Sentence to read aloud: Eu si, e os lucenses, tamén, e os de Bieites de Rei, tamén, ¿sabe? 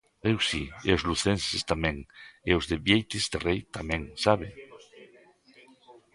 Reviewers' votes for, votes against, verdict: 1, 2, rejected